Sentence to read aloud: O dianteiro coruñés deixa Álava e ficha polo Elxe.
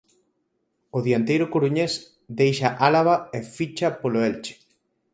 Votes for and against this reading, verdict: 0, 4, rejected